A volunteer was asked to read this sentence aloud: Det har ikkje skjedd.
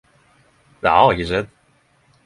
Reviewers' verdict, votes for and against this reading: accepted, 10, 0